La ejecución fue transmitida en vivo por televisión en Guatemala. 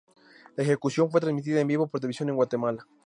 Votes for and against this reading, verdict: 0, 2, rejected